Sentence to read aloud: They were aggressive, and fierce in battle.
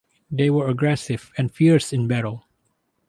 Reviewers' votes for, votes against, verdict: 4, 0, accepted